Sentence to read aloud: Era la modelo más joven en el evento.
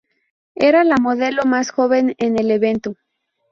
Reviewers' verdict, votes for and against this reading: rejected, 0, 2